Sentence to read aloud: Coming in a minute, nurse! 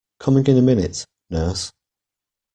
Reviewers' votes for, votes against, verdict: 2, 0, accepted